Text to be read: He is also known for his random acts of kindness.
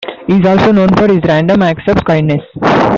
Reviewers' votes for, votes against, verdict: 2, 0, accepted